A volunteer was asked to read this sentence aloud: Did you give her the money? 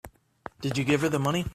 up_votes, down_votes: 4, 0